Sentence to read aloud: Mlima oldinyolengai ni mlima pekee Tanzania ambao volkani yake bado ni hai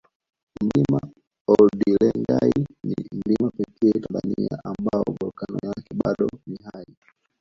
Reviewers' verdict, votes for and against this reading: accepted, 2, 0